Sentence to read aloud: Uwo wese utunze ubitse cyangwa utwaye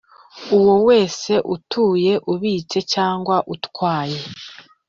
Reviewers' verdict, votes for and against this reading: rejected, 1, 2